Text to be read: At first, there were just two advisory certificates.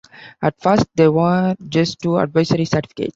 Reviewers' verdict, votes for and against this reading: rejected, 1, 2